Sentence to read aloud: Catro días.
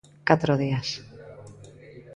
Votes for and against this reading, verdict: 2, 0, accepted